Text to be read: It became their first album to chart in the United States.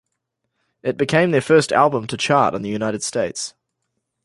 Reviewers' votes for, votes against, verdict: 2, 0, accepted